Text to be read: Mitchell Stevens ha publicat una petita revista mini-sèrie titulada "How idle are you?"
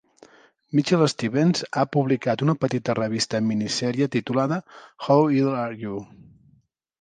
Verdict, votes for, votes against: accepted, 3, 0